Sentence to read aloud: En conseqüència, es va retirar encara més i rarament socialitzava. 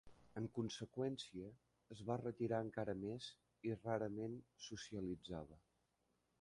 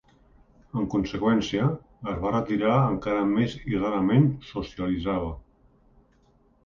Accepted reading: second